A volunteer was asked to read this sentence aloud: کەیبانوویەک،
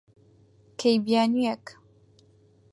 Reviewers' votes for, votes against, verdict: 0, 4, rejected